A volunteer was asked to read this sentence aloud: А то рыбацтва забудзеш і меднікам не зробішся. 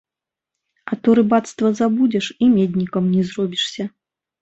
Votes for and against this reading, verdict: 1, 2, rejected